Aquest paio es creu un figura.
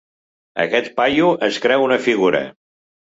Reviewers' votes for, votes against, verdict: 1, 2, rejected